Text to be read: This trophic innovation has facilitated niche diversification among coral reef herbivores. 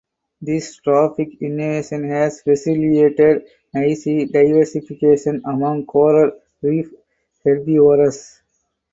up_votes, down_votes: 2, 2